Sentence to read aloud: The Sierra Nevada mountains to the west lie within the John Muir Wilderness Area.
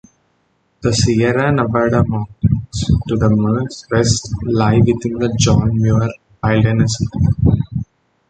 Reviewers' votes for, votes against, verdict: 0, 2, rejected